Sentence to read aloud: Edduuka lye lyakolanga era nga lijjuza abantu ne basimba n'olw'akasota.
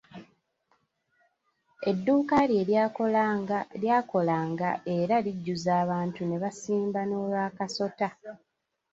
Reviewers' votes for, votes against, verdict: 1, 2, rejected